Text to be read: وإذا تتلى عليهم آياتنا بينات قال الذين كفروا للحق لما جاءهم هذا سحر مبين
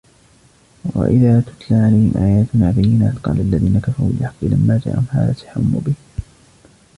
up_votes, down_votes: 2, 0